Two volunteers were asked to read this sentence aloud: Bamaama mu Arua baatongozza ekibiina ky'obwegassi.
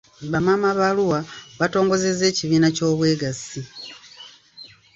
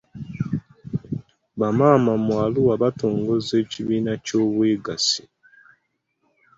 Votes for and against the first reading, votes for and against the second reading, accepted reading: 0, 2, 2, 1, second